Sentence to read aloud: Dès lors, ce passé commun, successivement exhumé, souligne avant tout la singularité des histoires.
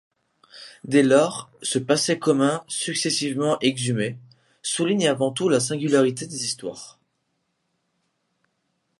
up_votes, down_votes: 2, 0